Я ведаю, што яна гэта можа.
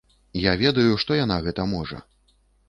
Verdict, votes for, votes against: accepted, 2, 0